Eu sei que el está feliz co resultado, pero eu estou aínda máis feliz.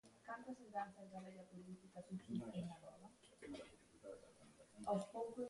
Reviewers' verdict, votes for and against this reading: rejected, 0, 2